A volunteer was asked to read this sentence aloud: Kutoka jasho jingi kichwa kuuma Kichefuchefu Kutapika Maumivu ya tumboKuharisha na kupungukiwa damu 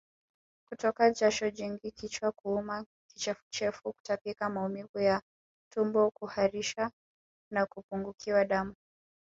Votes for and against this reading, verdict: 1, 2, rejected